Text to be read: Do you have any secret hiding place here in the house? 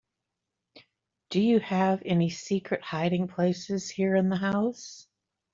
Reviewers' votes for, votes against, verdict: 0, 2, rejected